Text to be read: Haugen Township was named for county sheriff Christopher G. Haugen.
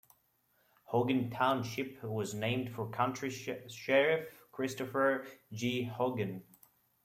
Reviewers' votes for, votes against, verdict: 0, 2, rejected